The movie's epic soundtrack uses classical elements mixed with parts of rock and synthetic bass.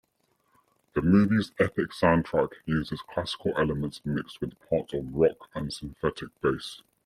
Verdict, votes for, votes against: rejected, 1, 2